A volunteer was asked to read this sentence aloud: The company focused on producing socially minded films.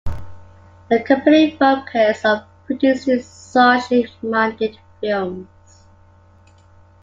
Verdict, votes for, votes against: accepted, 2, 0